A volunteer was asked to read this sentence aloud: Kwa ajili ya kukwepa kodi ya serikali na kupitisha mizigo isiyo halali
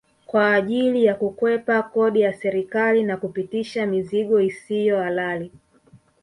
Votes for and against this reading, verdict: 3, 0, accepted